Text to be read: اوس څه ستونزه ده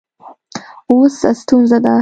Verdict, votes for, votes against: accepted, 2, 0